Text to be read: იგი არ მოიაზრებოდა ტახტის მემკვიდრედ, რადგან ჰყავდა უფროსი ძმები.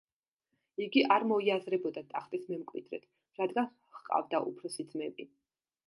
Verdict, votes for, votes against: accepted, 2, 0